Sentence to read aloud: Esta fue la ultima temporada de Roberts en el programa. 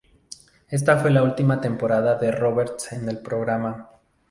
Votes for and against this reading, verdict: 4, 0, accepted